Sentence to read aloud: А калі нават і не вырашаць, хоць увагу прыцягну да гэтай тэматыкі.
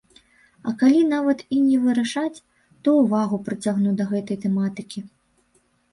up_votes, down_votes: 0, 2